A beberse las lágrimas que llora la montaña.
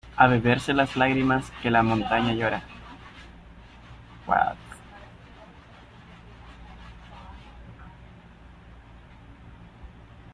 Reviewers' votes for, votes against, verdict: 0, 2, rejected